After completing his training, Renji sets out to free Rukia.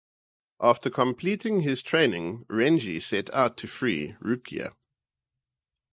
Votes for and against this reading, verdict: 0, 2, rejected